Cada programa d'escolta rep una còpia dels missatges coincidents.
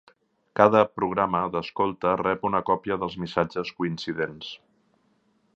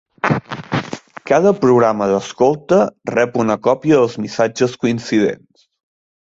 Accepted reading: first